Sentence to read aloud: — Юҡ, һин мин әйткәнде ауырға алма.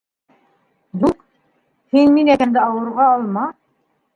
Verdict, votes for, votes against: rejected, 0, 2